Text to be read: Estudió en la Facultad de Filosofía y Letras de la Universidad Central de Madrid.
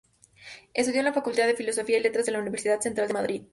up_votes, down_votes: 0, 2